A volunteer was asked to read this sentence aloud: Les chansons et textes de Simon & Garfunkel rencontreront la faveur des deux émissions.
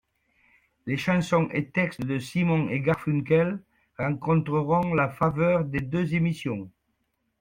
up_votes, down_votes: 2, 0